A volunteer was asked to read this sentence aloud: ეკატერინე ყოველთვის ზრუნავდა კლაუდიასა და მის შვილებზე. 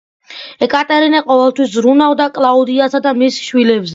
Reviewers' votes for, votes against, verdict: 2, 0, accepted